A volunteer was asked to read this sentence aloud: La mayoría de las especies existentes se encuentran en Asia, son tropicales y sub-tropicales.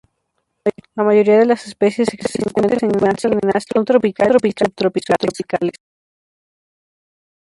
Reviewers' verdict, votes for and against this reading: rejected, 0, 2